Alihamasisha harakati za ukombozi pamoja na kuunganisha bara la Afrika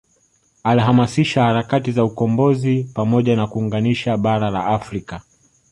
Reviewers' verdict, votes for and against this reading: accepted, 2, 0